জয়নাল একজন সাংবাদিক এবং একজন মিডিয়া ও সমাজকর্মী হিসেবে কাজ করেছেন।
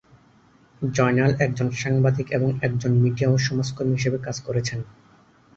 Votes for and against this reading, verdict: 28, 4, accepted